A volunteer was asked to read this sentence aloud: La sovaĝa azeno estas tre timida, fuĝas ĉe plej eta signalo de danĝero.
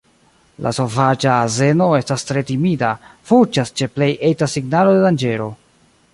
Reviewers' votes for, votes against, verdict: 0, 2, rejected